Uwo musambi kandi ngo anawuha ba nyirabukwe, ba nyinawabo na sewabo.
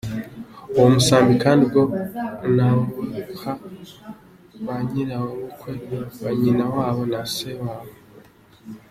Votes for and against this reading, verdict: 1, 2, rejected